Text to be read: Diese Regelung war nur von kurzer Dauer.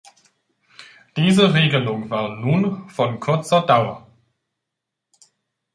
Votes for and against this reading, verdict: 0, 2, rejected